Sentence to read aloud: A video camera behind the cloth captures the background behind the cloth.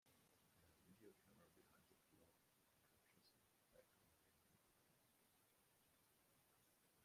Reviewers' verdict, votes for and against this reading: rejected, 0, 2